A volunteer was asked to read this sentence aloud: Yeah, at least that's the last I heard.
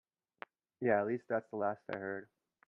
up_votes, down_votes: 2, 0